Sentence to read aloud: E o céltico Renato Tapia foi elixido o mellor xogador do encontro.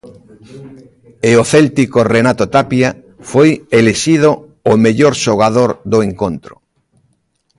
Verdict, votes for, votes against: rejected, 1, 2